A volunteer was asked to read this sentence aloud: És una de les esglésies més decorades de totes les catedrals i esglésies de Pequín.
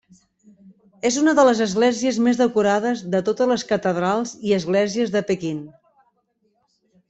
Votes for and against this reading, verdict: 3, 0, accepted